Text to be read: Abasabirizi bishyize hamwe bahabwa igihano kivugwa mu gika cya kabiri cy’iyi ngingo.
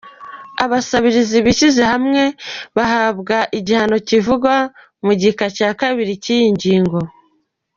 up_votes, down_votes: 2, 0